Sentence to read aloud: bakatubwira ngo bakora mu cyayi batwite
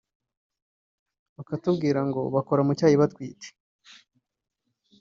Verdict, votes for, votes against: rejected, 0, 2